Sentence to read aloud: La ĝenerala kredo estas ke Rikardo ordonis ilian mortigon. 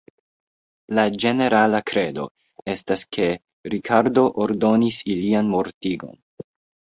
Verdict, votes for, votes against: accepted, 2, 0